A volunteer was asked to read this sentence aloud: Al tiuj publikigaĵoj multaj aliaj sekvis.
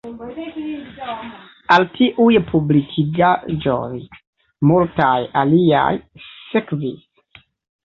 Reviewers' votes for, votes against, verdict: 2, 0, accepted